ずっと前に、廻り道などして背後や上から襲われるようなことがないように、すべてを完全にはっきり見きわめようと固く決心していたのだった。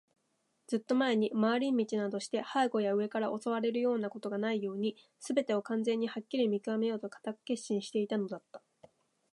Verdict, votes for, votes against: accepted, 2, 0